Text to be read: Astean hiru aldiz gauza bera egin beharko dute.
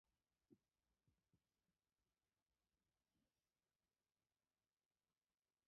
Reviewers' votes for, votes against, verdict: 0, 2, rejected